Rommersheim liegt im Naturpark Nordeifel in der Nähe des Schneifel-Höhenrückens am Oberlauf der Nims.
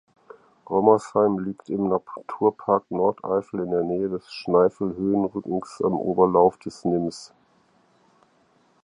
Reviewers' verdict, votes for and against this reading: rejected, 0, 4